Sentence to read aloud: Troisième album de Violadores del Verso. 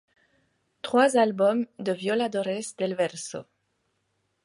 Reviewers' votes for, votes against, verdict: 0, 2, rejected